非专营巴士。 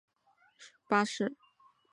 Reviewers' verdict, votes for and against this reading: rejected, 1, 2